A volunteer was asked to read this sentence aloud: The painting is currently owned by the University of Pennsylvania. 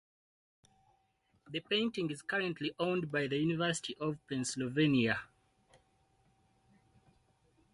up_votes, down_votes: 4, 0